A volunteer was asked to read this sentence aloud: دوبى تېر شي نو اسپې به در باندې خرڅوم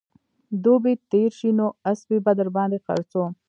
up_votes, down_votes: 2, 1